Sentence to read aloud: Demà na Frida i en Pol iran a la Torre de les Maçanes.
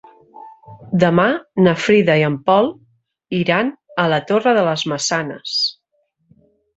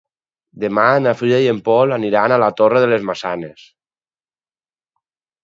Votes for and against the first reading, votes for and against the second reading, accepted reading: 3, 0, 2, 4, first